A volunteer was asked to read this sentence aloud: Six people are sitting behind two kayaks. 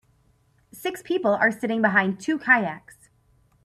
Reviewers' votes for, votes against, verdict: 4, 0, accepted